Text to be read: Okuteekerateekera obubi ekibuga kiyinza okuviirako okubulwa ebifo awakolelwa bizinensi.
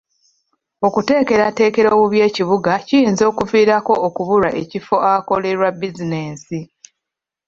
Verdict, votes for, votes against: accepted, 2, 1